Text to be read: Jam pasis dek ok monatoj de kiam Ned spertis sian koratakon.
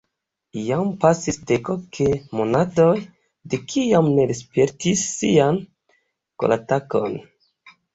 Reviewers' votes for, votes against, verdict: 2, 0, accepted